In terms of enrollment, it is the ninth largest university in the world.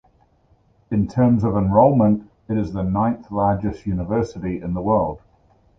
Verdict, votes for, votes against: accepted, 2, 0